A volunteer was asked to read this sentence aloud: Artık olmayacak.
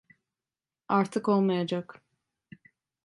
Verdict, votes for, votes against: accepted, 2, 0